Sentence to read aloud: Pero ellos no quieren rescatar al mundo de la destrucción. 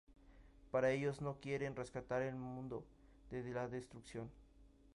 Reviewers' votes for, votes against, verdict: 0, 2, rejected